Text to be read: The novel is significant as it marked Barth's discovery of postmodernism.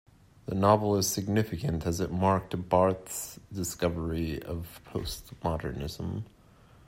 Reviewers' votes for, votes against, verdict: 2, 0, accepted